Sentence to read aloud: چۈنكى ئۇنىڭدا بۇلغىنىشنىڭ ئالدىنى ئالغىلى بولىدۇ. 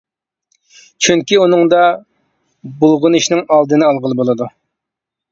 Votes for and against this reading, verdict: 2, 0, accepted